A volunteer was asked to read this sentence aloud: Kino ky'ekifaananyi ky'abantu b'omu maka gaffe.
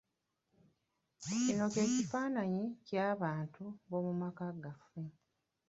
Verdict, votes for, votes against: rejected, 1, 2